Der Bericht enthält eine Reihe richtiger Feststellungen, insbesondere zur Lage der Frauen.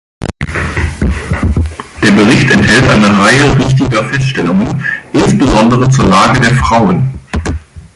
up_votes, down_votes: 2, 1